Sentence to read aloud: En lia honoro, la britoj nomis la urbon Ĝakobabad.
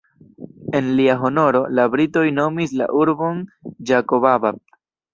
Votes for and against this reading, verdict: 1, 2, rejected